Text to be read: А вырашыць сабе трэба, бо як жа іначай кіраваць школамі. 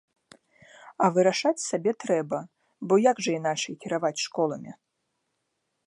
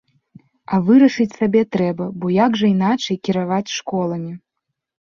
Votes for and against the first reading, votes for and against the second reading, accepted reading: 1, 2, 3, 0, second